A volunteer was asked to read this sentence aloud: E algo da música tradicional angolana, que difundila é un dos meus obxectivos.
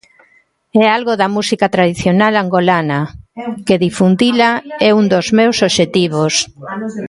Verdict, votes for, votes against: accepted, 2, 1